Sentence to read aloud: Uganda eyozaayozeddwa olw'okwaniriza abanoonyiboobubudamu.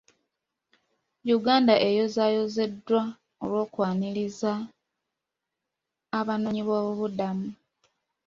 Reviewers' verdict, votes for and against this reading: accepted, 2, 0